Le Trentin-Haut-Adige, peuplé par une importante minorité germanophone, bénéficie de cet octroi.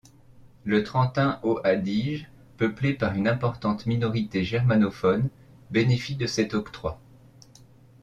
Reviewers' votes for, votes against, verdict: 0, 2, rejected